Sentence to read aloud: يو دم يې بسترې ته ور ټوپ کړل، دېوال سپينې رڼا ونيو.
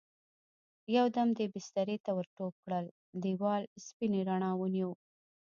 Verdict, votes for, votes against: accepted, 2, 0